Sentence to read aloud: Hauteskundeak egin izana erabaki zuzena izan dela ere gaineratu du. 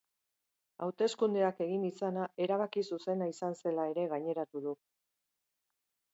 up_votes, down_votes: 0, 2